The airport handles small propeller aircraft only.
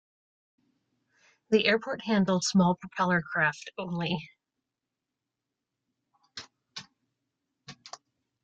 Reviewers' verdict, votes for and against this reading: rejected, 0, 2